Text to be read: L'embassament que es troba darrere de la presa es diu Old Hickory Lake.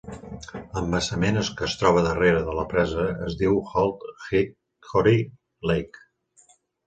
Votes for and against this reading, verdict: 0, 2, rejected